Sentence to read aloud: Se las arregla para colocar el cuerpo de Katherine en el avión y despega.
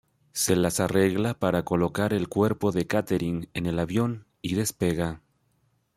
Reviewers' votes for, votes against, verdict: 1, 2, rejected